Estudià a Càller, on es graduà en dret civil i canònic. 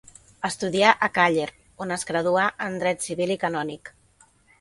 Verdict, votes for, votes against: accepted, 4, 0